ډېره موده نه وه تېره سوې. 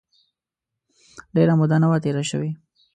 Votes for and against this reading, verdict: 2, 0, accepted